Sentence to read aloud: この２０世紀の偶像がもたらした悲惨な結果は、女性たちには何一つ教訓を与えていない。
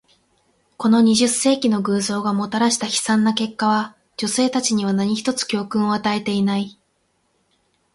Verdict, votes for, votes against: rejected, 0, 2